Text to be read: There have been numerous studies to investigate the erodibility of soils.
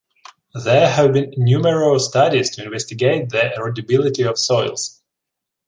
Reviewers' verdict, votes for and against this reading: accepted, 2, 1